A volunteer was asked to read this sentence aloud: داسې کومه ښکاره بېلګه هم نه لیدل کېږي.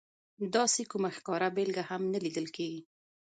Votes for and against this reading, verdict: 1, 2, rejected